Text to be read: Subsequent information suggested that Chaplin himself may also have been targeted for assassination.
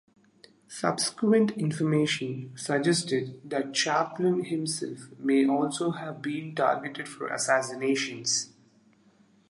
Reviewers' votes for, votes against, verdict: 2, 0, accepted